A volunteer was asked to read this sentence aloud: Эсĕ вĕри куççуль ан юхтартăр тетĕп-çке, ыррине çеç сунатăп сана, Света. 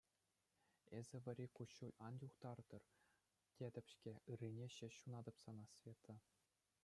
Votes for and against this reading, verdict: 2, 0, accepted